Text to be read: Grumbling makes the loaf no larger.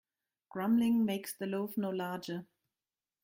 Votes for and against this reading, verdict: 2, 0, accepted